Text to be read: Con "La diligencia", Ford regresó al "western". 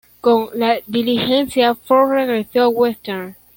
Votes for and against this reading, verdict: 1, 2, rejected